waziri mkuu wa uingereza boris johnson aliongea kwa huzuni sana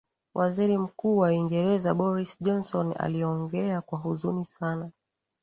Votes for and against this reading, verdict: 2, 1, accepted